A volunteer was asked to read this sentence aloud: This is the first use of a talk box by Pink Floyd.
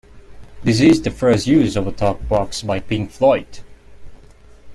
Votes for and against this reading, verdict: 2, 1, accepted